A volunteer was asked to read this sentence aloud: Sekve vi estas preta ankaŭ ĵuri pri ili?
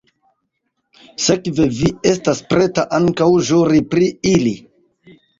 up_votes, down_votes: 0, 2